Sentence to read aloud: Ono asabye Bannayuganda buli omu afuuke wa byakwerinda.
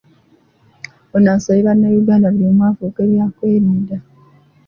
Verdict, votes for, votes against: rejected, 0, 2